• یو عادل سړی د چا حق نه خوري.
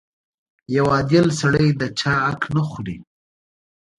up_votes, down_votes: 2, 0